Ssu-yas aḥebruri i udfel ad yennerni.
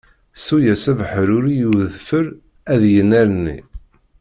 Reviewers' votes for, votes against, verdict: 1, 2, rejected